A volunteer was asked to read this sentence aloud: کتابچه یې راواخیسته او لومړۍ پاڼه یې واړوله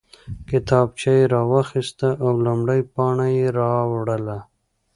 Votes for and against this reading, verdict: 1, 2, rejected